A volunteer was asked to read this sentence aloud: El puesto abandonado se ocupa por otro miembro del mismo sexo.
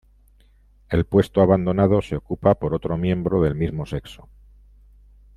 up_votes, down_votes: 1, 2